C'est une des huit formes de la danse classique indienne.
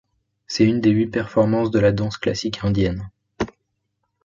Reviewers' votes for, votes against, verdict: 0, 2, rejected